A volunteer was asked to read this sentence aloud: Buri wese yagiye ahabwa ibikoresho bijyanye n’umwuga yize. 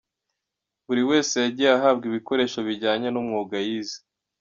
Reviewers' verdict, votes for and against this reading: accepted, 2, 1